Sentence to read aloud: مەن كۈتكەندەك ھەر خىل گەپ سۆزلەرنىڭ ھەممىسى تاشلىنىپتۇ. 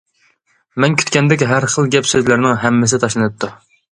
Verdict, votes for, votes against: accepted, 2, 0